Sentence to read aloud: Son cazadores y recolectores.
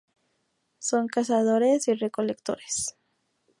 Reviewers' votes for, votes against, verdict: 2, 0, accepted